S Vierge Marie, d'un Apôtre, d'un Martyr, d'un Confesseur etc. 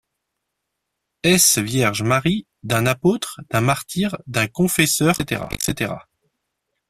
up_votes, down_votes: 1, 2